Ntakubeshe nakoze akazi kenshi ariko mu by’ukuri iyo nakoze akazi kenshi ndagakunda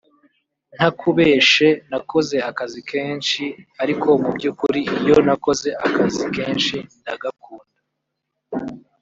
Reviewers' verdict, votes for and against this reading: accepted, 2, 1